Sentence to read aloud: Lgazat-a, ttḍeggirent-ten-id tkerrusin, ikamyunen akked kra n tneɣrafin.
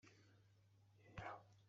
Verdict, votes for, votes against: rejected, 0, 2